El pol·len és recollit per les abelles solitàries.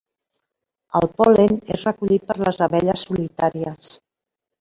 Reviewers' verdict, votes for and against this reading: accepted, 3, 0